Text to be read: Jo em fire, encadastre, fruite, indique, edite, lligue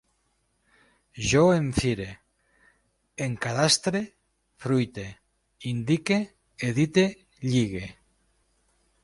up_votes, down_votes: 2, 0